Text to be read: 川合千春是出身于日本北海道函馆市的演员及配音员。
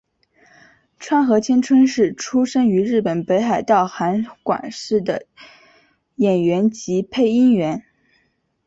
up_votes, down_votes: 2, 3